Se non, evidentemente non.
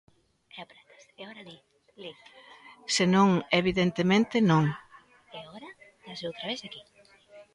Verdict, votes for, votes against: rejected, 0, 2